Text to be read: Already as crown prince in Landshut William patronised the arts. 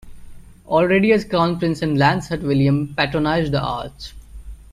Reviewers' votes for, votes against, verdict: 2, 0, accepted